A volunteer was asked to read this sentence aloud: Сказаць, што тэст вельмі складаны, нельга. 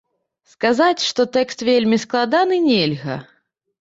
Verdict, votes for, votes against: rejected, 0, 2